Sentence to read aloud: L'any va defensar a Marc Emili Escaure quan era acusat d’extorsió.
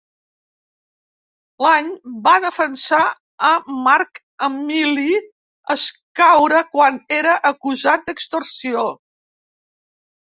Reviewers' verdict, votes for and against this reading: accepted, 2, 0